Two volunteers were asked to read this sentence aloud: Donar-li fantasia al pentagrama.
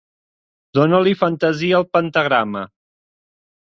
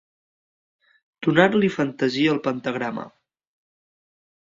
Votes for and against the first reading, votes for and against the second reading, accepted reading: 0, 2, 2, 0, second